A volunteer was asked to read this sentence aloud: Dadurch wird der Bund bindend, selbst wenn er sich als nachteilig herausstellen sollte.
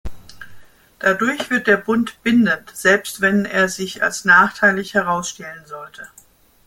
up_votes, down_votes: 2, 1